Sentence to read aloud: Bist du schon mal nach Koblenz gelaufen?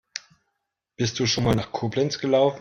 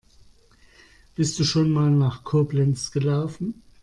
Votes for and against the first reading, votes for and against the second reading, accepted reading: 1, 3, 2, 0, second